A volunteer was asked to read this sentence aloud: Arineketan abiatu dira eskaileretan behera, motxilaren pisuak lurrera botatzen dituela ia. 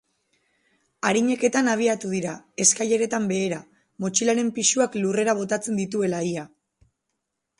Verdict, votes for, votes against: rejected, 0, 2